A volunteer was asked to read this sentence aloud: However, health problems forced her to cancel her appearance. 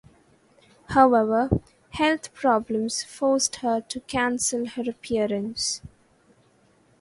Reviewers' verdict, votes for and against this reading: rejected, 0, 2